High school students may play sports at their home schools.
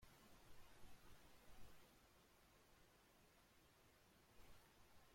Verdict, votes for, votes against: rejected, 0, 2